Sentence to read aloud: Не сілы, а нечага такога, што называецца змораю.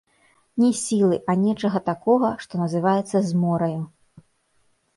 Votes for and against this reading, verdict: 1, 2, rejected